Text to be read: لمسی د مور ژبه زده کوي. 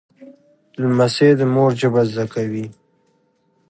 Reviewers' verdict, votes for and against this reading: accepted, 3, 0